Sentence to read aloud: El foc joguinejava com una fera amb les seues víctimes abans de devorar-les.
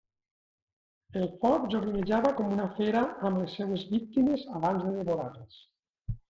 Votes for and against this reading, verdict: 2, 0, accepted